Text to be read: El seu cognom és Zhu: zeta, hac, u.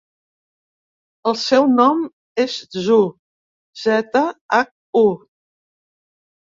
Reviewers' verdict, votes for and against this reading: rejected, 1, 2